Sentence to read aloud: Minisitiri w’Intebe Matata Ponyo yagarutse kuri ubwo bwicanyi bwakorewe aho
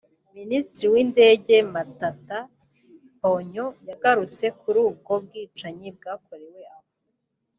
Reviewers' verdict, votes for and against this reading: rejected, 1, 2